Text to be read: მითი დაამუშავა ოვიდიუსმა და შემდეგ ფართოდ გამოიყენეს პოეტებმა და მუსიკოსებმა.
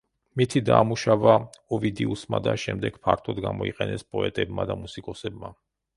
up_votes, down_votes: 2, 0